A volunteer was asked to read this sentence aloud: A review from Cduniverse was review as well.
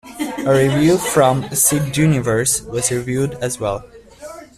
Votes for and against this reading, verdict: 0, 2, rejected